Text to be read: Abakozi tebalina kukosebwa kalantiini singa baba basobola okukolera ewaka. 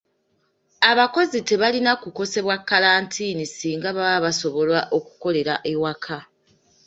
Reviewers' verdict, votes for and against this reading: accepted, 2, 0